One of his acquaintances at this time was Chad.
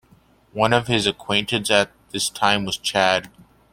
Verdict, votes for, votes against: rejected, 1, 2